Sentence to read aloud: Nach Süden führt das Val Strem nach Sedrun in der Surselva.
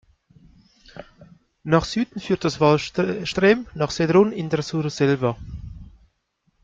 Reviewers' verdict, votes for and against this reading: rejected, 0, 2